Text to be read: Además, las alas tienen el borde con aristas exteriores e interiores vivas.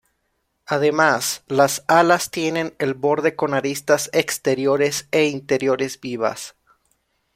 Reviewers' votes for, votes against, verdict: 2, 0, accepted